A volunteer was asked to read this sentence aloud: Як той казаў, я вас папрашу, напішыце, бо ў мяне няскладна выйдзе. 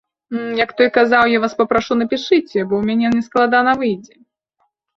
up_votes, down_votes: 2, 3